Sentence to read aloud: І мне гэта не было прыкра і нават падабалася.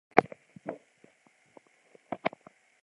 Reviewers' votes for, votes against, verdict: 0, 2, rejected